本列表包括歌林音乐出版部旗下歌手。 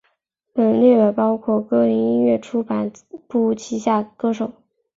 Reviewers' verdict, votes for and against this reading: rejected, 0, 2